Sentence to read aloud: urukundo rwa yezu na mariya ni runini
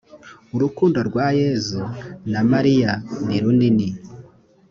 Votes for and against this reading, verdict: 2, 0, accepted